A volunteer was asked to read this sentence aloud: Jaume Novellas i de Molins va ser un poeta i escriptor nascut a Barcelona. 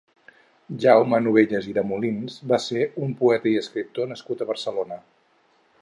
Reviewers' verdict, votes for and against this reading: accepted, 4, 0